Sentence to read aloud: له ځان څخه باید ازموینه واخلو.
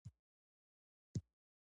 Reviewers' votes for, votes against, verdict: 1, 2, rejected